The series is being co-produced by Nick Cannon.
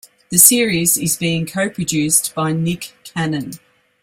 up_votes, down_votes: 2, 0